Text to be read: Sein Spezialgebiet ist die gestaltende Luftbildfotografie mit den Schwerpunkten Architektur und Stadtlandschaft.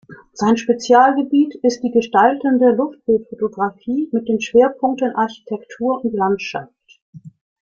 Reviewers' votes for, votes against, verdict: 0, 2, rejected